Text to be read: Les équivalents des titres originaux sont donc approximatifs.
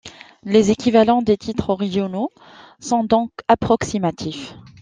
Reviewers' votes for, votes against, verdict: 2, 0, accepted